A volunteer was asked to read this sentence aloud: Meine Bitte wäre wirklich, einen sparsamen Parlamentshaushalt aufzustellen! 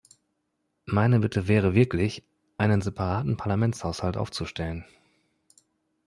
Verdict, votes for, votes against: rejected, 0, 2